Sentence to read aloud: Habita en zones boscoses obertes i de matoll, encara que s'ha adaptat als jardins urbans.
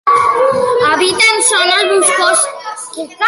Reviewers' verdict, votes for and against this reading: rejected, 0, 2